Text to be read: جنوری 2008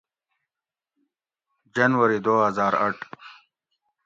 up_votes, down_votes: 0, 2